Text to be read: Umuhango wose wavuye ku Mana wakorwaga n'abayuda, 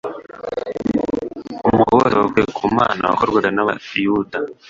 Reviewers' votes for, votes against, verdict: 1, 2, rejected